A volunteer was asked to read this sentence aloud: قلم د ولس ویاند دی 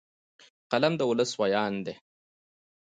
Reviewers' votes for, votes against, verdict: 2, 1, accepted